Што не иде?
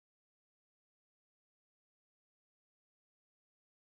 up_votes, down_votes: 0, 2